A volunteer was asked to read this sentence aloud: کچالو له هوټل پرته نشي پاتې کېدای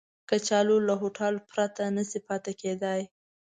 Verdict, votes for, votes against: accepted, 2, 0